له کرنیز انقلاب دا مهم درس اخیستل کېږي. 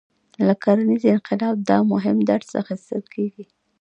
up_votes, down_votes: 2, 1